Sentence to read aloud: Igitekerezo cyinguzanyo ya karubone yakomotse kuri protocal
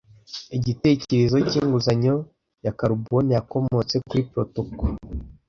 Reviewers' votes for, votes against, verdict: 2, 1, accepted